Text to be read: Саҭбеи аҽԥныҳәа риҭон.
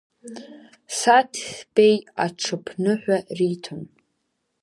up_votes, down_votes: 0, 2